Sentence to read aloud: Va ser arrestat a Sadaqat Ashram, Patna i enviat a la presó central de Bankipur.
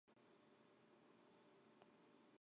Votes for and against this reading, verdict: 0, 2, rejected